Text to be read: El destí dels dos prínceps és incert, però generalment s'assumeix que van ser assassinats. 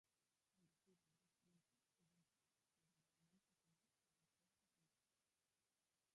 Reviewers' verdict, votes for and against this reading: rejected, 0, 2